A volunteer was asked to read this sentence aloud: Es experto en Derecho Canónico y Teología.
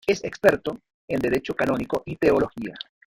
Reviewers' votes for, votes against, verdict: 2, 1, accepted